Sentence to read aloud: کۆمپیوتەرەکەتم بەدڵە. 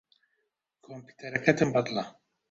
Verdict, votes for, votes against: accepted, 2, 0